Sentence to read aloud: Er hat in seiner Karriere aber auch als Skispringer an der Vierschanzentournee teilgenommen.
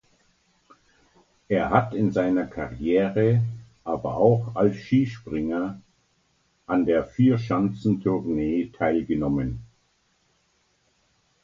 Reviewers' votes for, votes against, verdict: 2, 0, accepted